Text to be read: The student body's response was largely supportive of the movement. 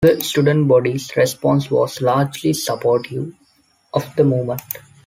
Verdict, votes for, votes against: rejected, 1, 2